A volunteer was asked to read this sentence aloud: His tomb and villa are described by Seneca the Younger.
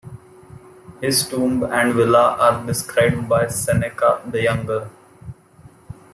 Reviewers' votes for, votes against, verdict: 2, 0, accepted